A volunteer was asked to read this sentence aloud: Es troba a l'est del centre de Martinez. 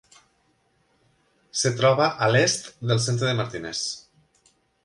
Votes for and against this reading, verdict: 2, 1, accepted